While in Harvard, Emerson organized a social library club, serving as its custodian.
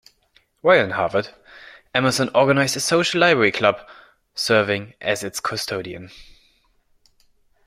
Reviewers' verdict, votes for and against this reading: accepted, 2, 0